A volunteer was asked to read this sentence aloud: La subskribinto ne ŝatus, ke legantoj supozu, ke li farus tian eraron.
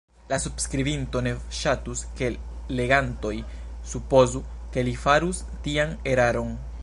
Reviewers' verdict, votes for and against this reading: accepted, 2, 0